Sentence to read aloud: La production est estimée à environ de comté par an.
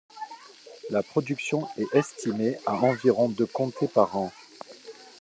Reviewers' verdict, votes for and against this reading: accepted, 2, 0